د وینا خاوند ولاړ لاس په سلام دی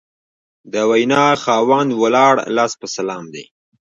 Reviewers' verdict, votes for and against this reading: rejected, 1, 2